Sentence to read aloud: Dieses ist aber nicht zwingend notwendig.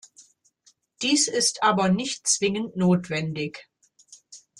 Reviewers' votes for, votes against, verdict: 0, 2, rejected